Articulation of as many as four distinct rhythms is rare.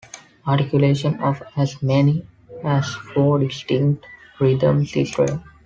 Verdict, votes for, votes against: accepted, 2, 0